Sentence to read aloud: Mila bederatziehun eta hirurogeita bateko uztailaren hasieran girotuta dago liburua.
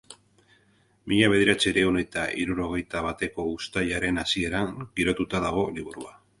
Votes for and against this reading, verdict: 2, 2, rejected